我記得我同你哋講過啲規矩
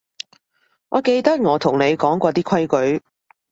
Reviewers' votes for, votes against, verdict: 1, 2, rejected